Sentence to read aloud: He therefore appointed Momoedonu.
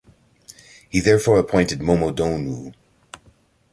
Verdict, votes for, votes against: rejected, 1, 2